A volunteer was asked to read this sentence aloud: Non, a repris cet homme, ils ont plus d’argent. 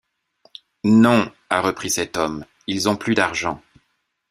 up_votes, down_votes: 1, 2